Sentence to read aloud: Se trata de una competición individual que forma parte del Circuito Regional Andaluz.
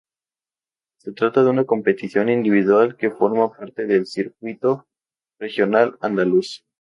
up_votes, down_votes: 2, 0